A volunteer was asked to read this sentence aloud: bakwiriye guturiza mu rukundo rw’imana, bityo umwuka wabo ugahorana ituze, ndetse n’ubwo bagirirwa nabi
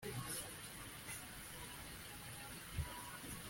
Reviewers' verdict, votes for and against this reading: rejected, 0, 2